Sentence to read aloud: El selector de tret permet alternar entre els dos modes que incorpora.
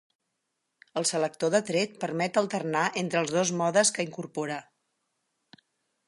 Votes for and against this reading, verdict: 6, 0, accepted